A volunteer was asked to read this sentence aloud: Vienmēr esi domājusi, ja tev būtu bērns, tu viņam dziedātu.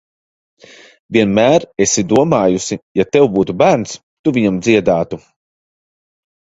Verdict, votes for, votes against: accepted, 2, 0